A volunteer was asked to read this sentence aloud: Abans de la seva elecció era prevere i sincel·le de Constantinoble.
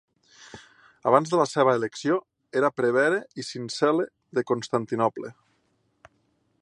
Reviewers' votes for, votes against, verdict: 2, 0, accepted